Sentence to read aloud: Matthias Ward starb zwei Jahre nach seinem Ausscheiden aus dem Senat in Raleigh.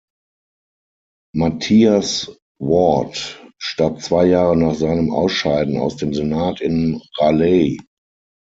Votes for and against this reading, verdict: 6, 0, accepted